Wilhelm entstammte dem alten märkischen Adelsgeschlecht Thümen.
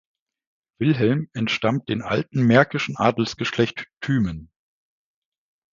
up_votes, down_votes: 0, 2